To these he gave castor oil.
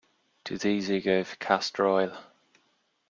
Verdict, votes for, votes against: rejected, 0, 2